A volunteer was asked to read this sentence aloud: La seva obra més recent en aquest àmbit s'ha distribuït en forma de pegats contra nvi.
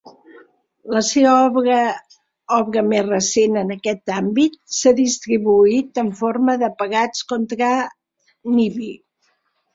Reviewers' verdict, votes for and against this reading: rejected, 1, 2